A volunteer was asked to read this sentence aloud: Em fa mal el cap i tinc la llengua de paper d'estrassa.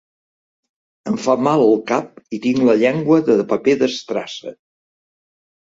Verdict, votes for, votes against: accepted, 3, 0